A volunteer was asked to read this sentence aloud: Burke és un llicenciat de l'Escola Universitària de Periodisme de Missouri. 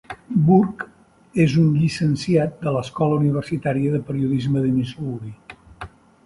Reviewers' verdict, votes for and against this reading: accepted, 3, 0